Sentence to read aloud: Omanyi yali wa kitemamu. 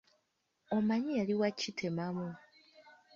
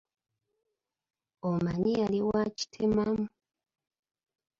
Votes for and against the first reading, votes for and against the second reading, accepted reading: 0, 2, 2, 1, second